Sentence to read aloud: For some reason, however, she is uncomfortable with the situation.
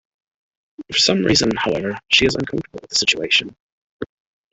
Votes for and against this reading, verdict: 2, 0, accepted